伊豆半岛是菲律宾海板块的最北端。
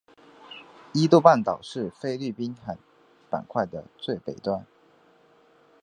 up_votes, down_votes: 2, 0